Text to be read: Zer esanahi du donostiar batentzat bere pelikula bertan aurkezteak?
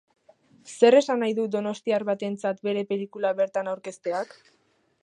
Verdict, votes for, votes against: accepted, 2, 0